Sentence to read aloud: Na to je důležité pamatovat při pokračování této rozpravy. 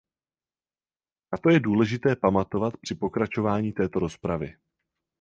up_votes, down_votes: 4, 0